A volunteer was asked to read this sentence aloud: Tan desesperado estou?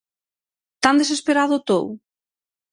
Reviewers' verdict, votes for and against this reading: rejected, 0, 6